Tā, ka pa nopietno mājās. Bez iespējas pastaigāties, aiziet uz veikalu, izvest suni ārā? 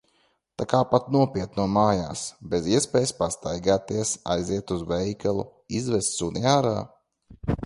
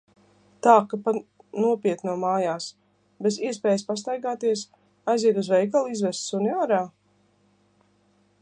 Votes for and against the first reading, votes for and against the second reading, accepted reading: 0, 2, 2, 0, second